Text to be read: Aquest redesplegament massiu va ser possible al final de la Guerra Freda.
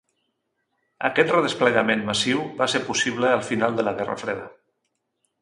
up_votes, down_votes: 4, 0